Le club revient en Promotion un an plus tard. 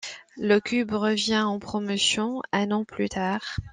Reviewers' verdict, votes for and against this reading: rejected, 1, 2